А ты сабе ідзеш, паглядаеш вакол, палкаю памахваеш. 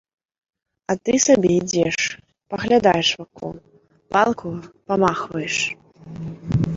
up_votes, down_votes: 1, 2